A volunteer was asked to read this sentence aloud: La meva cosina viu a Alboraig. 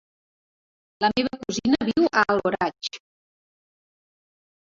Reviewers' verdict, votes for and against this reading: accepted, 2, 1